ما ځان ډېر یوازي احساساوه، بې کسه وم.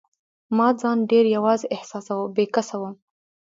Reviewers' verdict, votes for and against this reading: accepted, 2, 0